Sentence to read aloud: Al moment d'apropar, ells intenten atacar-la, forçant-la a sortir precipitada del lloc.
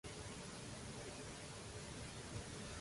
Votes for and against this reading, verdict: 0, 2, rejected